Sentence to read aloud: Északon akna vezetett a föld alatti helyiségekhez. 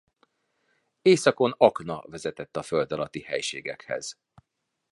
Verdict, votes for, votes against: accepted, 2, 0